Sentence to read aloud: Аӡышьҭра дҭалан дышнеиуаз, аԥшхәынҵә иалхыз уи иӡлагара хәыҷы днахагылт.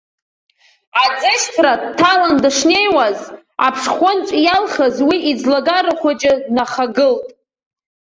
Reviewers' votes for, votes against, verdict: 1, 2, rejected